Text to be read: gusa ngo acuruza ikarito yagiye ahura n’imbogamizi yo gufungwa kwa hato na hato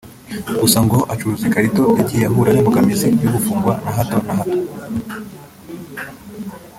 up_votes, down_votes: 0, 2